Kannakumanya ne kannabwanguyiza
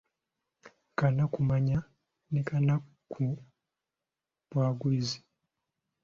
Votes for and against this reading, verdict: 0, 2, rejected